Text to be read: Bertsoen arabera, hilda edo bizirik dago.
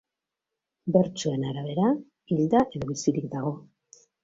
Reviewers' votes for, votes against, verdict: 2, 0, accepted